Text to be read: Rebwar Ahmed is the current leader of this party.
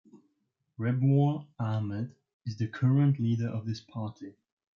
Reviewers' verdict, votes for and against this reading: rejected, 0, 2